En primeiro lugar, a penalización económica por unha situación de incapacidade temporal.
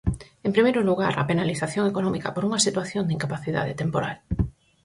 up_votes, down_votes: 4, 0